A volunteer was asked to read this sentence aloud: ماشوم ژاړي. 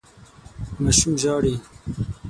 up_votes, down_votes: 9, 0